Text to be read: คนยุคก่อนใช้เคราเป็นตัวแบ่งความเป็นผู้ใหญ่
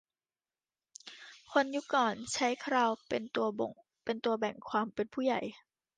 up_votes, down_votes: 0, 2